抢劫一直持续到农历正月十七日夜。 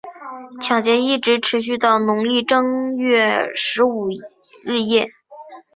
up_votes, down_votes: 0, 2